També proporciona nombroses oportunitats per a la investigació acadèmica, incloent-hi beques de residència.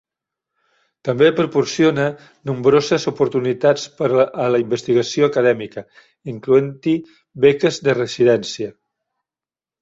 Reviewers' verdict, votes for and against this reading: rejected, 0, 2